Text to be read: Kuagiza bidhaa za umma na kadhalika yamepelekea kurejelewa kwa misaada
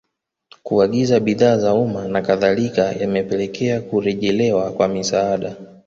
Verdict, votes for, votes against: accepted, 2, 0